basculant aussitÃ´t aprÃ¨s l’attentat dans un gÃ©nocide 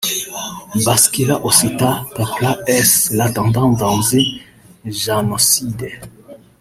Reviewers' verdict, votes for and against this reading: rejected, 0, 2